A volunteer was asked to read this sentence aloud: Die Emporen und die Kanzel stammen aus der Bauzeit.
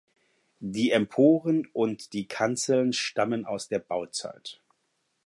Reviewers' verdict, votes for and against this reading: rejected, 0, 4